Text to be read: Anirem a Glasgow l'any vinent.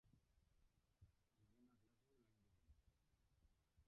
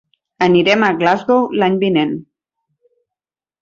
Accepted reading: second